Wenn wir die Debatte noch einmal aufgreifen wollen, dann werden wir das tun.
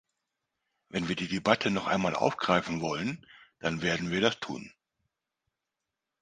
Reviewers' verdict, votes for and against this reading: accepted, 2, 0